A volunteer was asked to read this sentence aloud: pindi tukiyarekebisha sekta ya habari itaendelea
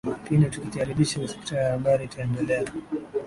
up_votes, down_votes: 2, 2